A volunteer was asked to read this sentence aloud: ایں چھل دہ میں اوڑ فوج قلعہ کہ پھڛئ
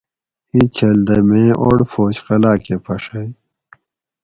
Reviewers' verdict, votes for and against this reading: accepted, 4, 0